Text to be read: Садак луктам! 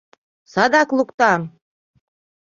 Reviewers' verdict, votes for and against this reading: accepted, 2, 0